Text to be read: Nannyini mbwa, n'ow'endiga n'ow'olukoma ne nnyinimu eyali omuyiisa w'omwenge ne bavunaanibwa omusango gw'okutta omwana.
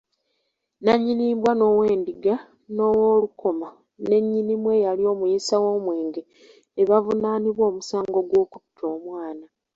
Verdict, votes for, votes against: accepted, 2, 0